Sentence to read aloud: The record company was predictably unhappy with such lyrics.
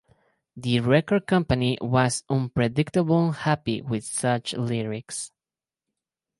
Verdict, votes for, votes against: rejected, 0, 2